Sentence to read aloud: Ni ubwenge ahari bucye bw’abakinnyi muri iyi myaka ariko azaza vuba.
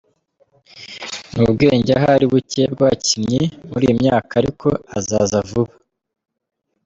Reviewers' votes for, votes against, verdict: 2, 0, accepted